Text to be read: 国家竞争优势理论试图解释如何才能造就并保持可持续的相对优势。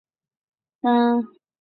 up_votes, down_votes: 0, 4